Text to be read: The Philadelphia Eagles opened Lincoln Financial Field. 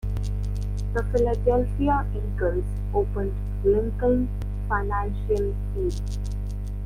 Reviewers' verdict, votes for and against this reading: accepted, 2, 0